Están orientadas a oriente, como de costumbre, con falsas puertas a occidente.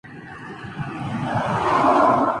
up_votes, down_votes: 0, 2